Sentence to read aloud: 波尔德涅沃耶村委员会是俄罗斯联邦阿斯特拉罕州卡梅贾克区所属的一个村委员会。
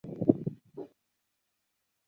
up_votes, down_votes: 0, 3